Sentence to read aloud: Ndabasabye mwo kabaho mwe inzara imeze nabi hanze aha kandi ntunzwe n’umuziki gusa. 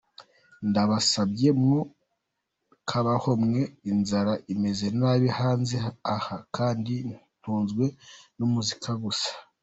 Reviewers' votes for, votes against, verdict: 2, 0, accepted